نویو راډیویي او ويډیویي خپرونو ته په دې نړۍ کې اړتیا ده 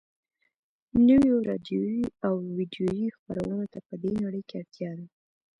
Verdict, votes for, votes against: accepted, 2, 0